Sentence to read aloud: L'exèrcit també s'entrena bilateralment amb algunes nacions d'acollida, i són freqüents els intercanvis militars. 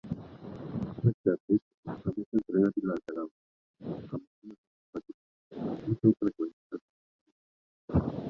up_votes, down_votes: 0, 2